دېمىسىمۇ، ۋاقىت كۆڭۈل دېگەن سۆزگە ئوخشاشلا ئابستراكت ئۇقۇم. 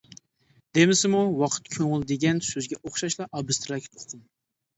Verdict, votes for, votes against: accepted, 2, 0